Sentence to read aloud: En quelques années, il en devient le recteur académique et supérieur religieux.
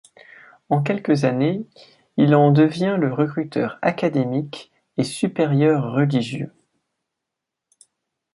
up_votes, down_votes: 0, 2